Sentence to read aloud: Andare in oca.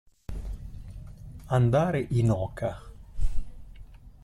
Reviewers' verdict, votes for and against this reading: accepted, 2, 0